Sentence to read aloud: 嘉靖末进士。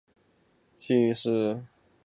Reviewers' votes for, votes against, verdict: 0, 2, rejected